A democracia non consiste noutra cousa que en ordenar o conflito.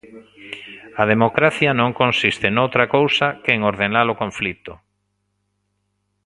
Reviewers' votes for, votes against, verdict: 1, 2, rejected